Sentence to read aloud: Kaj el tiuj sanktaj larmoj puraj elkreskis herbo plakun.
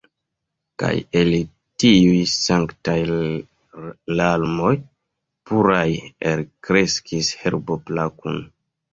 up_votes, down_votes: 1, 2